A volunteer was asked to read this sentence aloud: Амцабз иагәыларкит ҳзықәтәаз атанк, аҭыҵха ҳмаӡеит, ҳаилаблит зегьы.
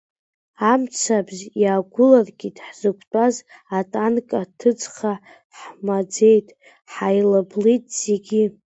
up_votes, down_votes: 1, 2